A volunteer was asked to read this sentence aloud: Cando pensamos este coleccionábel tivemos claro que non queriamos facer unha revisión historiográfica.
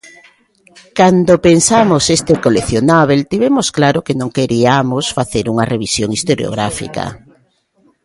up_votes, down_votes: 1, 2